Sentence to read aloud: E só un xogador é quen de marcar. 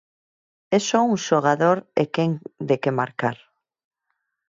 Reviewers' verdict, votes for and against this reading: rejected, 0, 6